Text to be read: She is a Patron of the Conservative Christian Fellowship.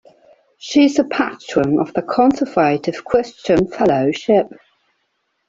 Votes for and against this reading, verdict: 2, 1, accepted